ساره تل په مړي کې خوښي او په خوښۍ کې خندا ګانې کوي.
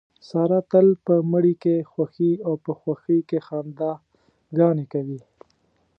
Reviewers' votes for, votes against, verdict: 2, 0, accepted